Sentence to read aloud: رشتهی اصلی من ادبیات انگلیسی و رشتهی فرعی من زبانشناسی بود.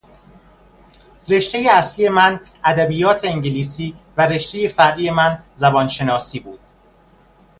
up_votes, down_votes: 2, 0